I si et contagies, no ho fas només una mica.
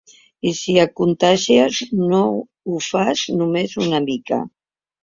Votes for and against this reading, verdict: 1, 2, rejected